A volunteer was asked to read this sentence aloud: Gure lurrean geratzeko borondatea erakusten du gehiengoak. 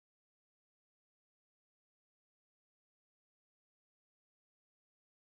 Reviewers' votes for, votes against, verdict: 0, 4, rejected